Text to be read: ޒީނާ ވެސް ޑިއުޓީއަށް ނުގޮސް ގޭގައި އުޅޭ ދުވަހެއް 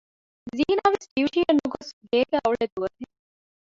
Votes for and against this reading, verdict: 0, 2, rejected